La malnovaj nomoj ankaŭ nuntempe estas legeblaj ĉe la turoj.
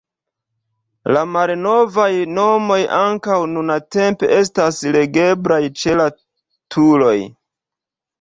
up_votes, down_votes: 2, 0